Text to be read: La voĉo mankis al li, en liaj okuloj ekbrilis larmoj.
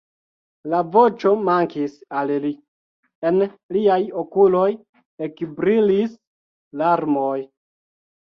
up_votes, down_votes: 2, 0